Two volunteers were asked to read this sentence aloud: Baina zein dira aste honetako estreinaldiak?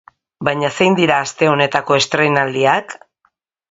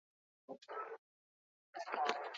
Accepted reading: first